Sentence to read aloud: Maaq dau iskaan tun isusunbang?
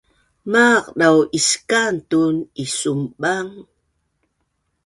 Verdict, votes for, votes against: rejected, 1, 3